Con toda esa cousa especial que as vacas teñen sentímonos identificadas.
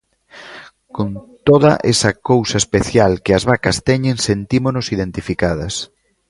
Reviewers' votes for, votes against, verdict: 0, 2, rejected